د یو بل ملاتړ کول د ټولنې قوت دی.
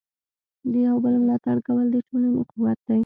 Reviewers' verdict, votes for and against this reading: accepted, 2, 0